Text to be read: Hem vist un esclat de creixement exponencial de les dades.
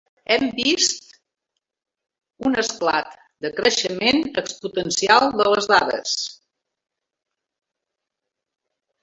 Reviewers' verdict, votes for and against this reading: rejected, 0, 2